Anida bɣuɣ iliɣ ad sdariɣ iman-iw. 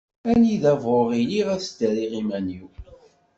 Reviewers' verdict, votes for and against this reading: accepted, 2, 0